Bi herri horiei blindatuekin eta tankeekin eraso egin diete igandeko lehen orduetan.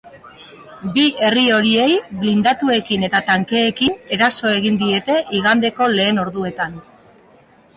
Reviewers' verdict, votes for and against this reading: rejected, 1, 2